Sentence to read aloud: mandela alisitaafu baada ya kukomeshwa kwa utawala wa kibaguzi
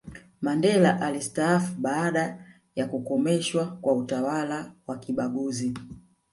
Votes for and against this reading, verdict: 1, 2, rejected